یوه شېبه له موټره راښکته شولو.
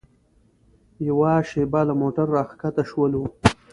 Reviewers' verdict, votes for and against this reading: accepted, 2, 0